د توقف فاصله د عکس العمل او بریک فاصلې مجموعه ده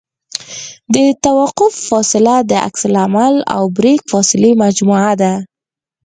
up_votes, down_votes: 4, 0